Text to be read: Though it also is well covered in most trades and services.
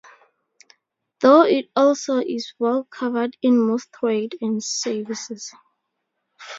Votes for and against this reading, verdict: 2, 2, rejected